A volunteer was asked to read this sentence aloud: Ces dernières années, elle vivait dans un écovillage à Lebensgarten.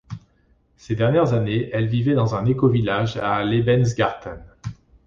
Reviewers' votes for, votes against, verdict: 2, 0, accepted